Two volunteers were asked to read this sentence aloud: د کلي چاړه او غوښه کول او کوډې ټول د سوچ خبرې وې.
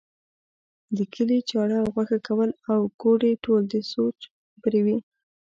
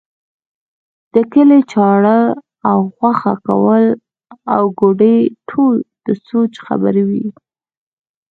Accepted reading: second